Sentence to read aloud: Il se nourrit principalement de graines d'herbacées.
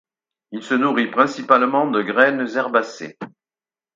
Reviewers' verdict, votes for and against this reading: rejected, 0, 4